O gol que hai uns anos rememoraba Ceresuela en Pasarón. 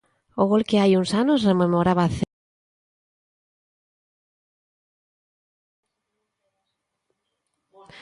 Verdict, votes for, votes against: rejected, 0, 2